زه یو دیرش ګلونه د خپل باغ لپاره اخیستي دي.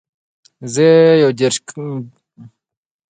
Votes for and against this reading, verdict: 1, 2, rejected